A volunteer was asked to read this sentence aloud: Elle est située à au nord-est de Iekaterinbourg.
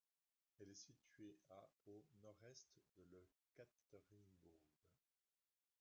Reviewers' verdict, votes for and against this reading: rejected, 1, 2